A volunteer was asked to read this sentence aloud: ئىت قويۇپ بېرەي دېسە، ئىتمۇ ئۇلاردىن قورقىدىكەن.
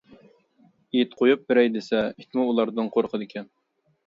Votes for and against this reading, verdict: 2, 0, accepted